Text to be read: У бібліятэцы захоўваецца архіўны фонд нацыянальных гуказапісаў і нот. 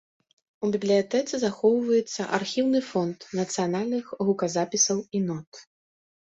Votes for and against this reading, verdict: 2, 0, accepted